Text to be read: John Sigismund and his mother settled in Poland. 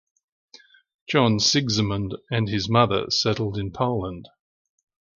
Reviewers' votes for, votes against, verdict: 2, 0, accepted